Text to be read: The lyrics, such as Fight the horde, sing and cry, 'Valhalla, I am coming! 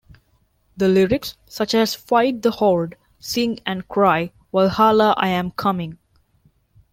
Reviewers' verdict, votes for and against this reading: accepted, 3, 0